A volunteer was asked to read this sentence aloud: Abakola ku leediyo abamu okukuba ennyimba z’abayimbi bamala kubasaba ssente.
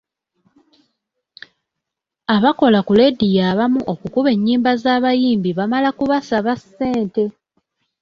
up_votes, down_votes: 2, 0